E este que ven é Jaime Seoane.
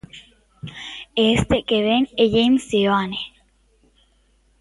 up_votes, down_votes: 1, 2